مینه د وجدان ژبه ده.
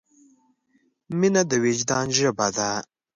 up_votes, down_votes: 2, 0